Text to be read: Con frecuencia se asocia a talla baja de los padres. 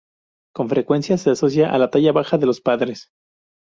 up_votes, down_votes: 0, 2